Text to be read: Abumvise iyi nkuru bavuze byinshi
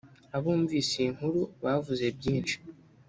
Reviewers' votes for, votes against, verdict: 1, 2, rejected